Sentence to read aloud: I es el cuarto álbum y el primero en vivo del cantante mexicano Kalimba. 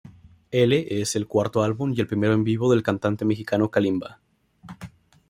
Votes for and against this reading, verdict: 0, 2, rejected